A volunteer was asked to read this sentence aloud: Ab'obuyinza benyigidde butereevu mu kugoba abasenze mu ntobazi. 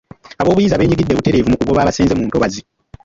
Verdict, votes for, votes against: rejected, 1, 2